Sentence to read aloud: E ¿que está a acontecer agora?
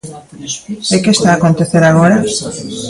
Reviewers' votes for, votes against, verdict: 2, 0, accepted